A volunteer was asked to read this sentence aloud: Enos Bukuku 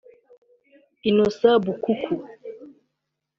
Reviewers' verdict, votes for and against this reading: accepted, 3, 2